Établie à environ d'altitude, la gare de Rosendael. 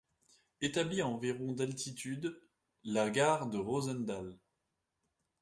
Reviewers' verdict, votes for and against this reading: accepted, 2, 0